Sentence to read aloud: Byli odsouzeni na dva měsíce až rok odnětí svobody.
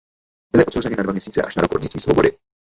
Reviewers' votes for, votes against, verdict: 1, 2, rejected